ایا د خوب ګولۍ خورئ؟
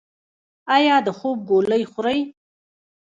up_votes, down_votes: 1, 2